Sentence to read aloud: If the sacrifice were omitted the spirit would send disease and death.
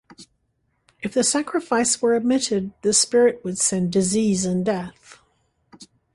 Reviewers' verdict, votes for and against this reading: accepted, 2, 0